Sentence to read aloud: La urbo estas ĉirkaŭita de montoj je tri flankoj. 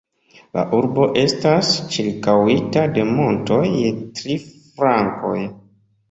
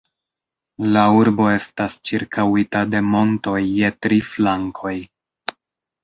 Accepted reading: second